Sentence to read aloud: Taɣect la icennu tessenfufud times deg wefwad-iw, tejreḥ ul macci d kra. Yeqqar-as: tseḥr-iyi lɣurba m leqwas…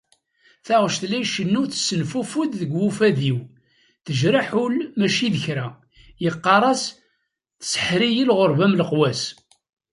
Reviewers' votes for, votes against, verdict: 0, 2, rejected